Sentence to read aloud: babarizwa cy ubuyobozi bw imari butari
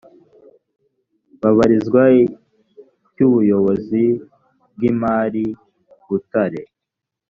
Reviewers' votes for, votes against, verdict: 1, 2, rejected